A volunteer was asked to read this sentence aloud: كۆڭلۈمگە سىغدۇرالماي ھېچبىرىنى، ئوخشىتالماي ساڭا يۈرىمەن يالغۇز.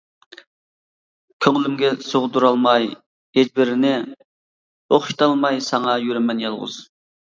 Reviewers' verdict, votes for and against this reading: accepted, 2, 0